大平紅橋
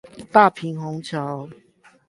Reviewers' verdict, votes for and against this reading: accepted, 8, 0